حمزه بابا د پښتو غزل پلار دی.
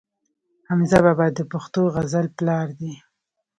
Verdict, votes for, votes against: rejected, 0, 2